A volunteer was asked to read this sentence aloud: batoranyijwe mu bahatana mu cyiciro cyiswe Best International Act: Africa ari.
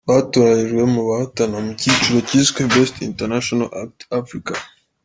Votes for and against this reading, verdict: 2, 0, accepted